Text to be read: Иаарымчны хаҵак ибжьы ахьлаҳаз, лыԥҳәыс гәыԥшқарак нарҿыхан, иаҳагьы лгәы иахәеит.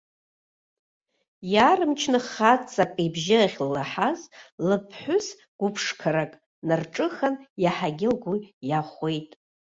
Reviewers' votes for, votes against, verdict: 1, 2, rejected